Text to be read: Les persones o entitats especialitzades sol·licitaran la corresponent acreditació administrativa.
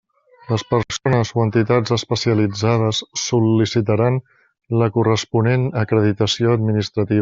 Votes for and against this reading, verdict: 0, 2, rejected